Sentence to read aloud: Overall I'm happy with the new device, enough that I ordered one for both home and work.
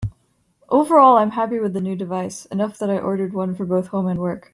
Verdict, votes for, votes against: accepted, 2, 0